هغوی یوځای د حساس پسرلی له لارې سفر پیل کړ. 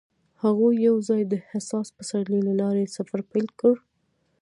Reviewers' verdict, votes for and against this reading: rejected, 0, 2